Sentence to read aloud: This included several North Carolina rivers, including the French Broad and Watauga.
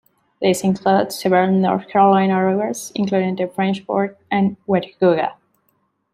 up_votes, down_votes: 0, 2